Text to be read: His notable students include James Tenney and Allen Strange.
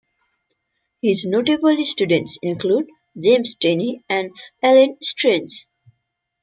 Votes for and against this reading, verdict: 1, 2, rejected